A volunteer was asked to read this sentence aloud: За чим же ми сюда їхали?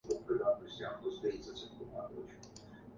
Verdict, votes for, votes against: rejected, 0, 2